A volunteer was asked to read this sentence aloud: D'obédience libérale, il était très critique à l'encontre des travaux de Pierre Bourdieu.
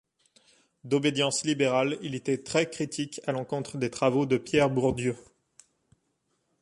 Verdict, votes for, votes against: accepted, 2, 0